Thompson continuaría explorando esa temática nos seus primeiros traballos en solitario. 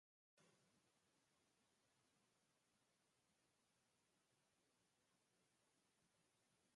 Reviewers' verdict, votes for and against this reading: rejected, 0, 4